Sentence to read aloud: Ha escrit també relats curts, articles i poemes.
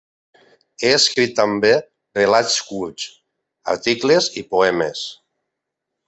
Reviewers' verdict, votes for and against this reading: rejected, 0, 2